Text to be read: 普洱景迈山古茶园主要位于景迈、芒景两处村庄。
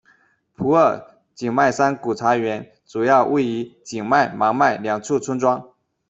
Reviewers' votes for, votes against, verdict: 1, 2, rejected